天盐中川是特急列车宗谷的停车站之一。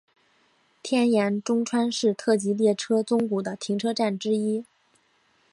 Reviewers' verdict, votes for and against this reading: accepted, 2, 0